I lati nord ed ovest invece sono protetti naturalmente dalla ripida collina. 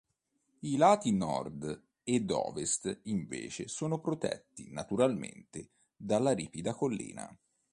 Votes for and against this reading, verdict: 2, 0, accepted